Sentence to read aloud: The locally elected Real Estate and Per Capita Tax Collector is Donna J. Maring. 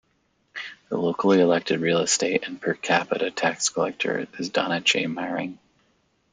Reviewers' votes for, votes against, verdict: 2, 0, accepted